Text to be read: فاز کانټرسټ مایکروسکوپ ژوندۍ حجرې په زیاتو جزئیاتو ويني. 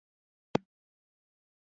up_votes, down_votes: 0, 2